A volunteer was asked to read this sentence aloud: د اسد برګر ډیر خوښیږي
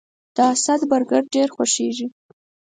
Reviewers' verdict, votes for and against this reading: accepted, 4, 0